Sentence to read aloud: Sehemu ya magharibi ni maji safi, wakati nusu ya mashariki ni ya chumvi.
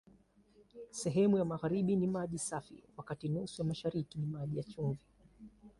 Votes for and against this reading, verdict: 0, 2, rejected